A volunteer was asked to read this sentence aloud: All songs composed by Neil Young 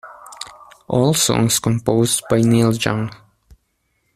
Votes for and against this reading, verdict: 2, 1, accepted